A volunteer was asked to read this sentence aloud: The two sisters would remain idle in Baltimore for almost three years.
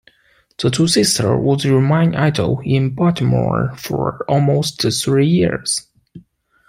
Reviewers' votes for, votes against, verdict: 1, 2, rejected